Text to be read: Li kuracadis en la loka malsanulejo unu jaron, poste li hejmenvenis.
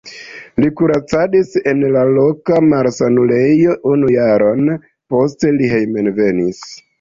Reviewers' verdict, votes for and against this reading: rejected, 0, 2